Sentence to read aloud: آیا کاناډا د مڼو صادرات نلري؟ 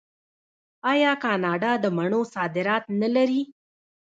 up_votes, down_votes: 1, 2